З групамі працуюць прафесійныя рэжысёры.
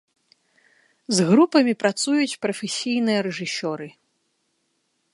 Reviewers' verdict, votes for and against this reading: accepted, 2, 1